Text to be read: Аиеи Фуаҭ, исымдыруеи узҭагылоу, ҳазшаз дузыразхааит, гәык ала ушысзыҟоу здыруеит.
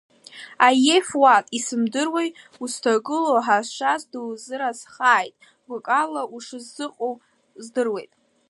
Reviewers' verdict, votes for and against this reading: accepted, 2, 0